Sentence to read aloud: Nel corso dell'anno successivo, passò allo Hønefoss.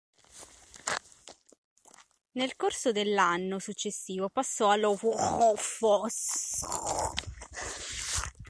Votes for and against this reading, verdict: 1, 2, rejected